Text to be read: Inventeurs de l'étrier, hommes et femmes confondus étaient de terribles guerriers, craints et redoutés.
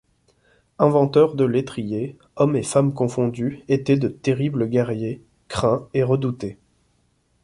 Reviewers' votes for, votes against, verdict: 1, 2, rejected